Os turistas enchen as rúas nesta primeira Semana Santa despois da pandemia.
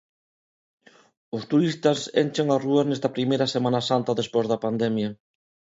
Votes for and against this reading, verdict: 2, 0, accepted